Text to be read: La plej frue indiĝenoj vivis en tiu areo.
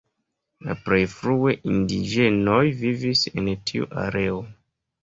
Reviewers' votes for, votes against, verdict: 0, 2, rejected